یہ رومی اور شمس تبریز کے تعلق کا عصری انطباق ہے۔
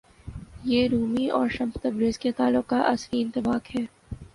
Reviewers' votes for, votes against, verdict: 2, 0, accepted